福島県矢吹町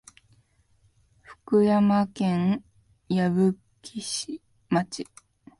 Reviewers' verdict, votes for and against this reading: rejected, 0, 2